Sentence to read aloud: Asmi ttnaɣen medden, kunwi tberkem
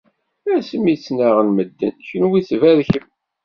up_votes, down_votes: 2, 0